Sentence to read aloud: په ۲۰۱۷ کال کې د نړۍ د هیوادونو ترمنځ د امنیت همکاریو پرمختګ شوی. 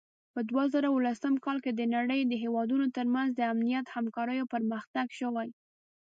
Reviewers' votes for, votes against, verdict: 0, 2, rejected